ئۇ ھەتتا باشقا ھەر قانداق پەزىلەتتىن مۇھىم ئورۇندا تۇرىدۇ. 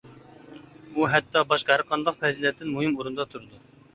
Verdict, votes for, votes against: accepted, 2, 0